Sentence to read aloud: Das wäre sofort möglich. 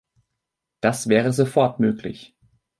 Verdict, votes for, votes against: accepted, 2, 0